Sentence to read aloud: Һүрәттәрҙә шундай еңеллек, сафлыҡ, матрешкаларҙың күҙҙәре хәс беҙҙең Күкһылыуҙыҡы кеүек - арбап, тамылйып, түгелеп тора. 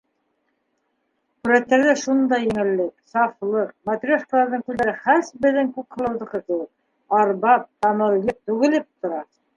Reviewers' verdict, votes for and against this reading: rejected, 0, 2